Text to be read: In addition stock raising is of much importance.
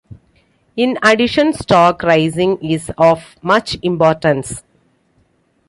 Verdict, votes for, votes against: accepted, 2, 0